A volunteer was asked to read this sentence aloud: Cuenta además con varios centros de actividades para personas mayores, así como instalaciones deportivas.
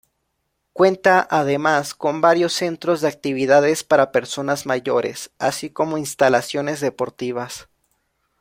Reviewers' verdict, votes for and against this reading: accepted, 2, 0